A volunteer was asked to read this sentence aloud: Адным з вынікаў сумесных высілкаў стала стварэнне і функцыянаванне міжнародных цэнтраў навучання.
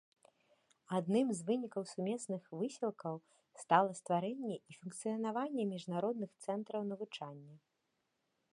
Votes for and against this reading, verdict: 2, 0, accepted